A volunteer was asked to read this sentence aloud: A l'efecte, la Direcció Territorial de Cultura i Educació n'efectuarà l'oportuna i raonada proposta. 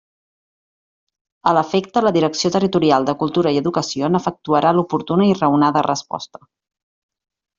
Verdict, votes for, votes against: rejected, 0, 2